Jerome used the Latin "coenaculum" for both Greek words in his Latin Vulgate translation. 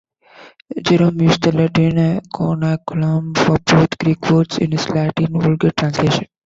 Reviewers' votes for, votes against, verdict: 1, 2, rejected